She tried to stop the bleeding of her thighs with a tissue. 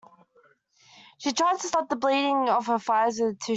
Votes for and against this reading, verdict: 1, 2, rejected